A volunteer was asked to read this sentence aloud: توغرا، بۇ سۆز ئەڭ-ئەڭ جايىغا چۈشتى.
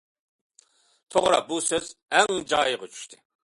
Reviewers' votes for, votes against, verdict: 0, 2, rejected